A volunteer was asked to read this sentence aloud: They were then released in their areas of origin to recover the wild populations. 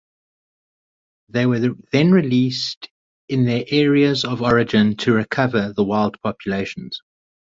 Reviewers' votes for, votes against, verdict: 2, 2, rejected